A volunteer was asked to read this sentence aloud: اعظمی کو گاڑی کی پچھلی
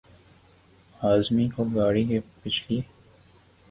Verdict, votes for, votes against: rejected, 2, 3